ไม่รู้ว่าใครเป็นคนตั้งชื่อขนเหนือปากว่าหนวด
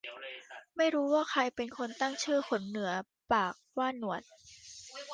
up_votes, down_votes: 2, 1